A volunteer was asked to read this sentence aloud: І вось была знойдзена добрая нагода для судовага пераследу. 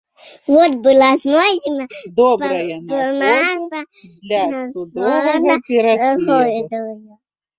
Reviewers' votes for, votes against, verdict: 1, 2, rejected